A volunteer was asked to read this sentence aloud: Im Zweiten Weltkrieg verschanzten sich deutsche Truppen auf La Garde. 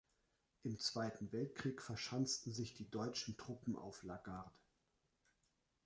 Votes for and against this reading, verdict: 1, 2, rejected